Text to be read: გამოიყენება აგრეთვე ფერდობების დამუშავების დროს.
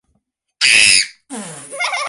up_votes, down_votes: 0, 2